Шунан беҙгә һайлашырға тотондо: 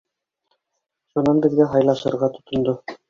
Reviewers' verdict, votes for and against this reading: accepted, 2, 1